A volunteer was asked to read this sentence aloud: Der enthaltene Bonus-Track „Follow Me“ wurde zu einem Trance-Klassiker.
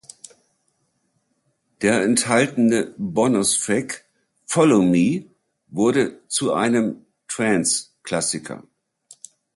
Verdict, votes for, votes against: rejected, 0, 2